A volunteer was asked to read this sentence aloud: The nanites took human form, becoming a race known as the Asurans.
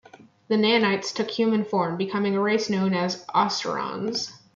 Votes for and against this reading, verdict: 2, 1, accepted